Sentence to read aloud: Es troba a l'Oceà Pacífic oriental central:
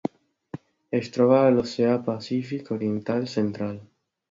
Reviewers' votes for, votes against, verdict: 2, 0, accepted